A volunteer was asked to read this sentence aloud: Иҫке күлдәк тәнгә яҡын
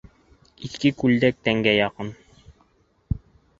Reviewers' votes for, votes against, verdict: 2, 0, accepted